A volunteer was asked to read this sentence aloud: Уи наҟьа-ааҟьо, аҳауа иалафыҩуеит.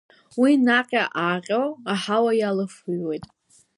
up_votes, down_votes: 1, 2